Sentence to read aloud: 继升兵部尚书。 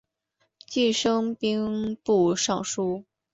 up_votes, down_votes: 2, 0